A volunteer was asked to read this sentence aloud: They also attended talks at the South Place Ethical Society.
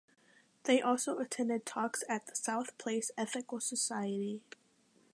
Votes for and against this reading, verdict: 2, 0, accepted